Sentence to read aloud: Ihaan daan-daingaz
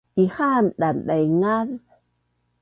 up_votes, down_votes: 2, 0